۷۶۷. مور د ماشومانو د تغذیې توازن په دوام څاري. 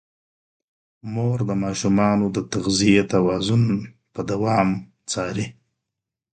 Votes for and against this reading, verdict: 0, 2, rejected